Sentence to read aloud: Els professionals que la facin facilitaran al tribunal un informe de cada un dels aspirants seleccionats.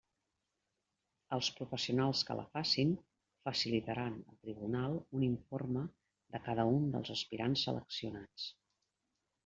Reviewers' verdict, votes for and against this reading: rejected, 1, 2